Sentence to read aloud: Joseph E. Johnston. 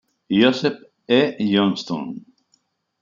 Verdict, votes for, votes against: accepted, 2, 0